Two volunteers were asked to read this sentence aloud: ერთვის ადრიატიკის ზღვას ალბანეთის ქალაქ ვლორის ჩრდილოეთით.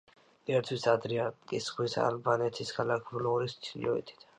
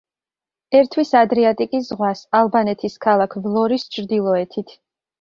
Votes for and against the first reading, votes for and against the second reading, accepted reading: 0, 2, 2, 0, second